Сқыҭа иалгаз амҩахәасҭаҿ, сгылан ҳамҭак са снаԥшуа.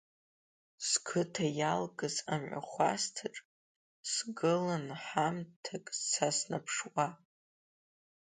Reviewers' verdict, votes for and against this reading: accepted, 2, 1